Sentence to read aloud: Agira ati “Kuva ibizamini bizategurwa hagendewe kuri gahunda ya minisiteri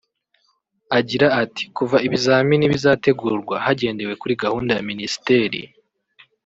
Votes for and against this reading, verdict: 1, 2, rejected